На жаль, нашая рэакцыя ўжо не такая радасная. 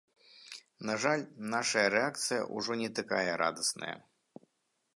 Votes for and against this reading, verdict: 2, 0, accepted